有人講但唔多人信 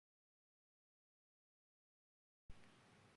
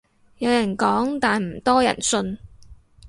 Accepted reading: second